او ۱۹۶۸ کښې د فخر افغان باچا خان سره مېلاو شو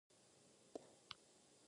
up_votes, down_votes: 0, 2